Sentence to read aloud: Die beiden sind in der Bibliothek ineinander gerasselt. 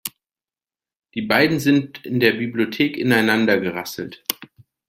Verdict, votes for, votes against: accepted, 2, 0